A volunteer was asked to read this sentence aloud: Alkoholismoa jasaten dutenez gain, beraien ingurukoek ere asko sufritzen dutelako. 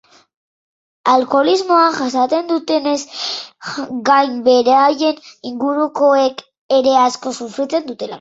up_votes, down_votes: 0, 2